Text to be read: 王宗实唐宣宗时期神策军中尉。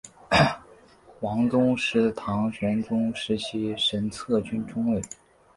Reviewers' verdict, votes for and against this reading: rejected, 0, 2